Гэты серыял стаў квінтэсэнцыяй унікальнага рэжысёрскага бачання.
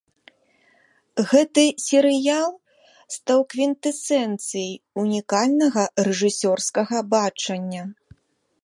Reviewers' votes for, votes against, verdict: 2, 0, accepted